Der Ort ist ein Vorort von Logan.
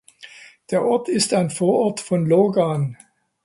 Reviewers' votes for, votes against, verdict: 2, 0, accepted